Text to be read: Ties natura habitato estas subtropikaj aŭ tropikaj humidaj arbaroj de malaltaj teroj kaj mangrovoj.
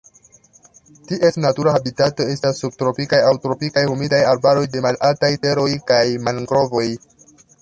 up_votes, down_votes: 1, 2